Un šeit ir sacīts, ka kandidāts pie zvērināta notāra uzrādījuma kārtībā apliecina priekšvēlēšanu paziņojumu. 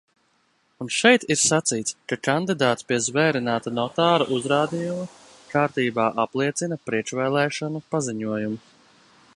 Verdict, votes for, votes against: rejected, 1, 2